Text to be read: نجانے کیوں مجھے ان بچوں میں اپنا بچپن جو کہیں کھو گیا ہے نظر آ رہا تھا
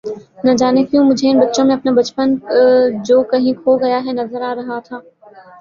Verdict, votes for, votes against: rejected, 1, 2